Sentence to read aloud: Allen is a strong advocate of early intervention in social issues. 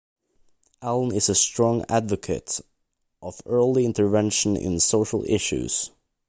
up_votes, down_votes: 2, 0